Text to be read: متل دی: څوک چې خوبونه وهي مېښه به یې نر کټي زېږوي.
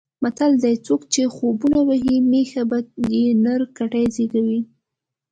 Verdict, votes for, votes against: accepted, 2, 0